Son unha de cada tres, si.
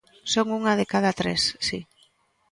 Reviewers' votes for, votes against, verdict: 2, 0, accepted